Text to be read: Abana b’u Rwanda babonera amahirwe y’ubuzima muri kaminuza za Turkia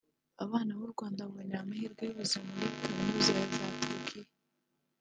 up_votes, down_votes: 0, 2